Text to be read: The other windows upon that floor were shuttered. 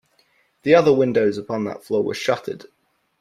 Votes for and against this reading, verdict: 2, 0, accepted